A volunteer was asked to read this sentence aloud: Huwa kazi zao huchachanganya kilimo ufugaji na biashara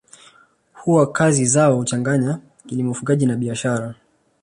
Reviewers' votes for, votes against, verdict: 2, 0, accepted